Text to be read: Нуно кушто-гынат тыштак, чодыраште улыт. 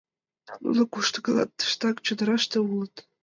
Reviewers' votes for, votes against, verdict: 0, 2, rejected